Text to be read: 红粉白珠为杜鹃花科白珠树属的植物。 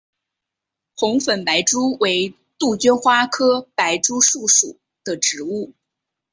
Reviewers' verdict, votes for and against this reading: accepted, 5, 1